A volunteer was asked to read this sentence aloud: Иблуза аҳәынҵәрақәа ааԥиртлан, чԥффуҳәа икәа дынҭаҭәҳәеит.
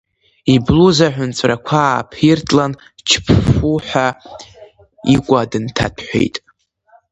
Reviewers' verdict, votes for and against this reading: rejected, 0, 2